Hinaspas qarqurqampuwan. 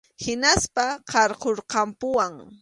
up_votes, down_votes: 2, 0